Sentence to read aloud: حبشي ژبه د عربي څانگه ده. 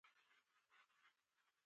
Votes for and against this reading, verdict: 0, 2, rejected